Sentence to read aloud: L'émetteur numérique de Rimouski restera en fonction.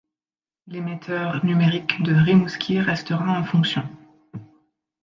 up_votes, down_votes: 2, 0